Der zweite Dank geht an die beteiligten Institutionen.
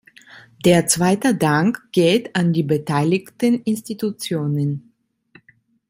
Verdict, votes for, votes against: accepted, 2, 0